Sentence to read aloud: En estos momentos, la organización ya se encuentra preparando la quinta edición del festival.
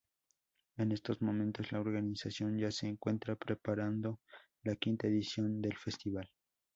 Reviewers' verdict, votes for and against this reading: accepted, 2, 0